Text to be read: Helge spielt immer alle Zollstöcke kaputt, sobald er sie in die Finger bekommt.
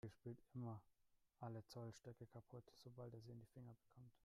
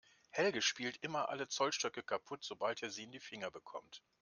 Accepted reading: second